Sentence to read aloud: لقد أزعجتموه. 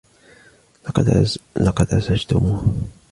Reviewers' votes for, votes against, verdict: 2, 0, accepted